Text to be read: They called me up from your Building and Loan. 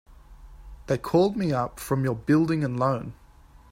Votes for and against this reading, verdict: 2, 0, accepted